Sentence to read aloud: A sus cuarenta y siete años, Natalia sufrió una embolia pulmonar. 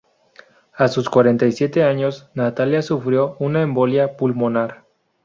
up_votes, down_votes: 2, 2